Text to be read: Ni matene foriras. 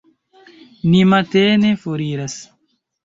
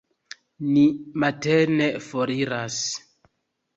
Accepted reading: second